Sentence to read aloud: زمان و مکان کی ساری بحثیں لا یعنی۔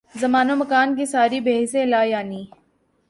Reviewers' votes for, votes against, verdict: 3, 0, accepted